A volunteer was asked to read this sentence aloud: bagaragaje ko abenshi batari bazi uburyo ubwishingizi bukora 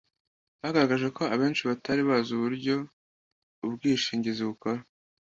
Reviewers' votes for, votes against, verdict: 2, 0, accepted